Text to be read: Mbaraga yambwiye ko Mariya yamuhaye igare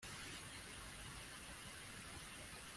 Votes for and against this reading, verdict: 0, 2, rejected